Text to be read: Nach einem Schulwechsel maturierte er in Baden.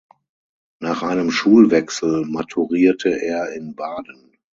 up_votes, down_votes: 6, 0